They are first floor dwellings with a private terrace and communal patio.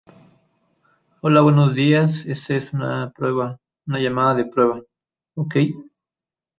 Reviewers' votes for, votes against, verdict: 0, 2, rejected